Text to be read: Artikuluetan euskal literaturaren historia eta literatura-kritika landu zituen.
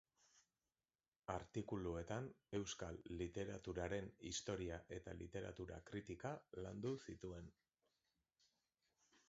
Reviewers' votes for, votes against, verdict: 1, 2, rejected